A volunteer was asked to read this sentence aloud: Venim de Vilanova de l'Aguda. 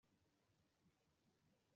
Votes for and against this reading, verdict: 0, 2, rejected